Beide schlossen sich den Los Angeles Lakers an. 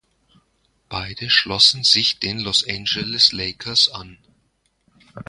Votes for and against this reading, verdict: 1, 2, rejected